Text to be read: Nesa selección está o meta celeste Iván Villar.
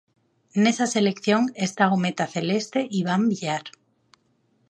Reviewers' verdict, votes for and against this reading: accepted, 4, 0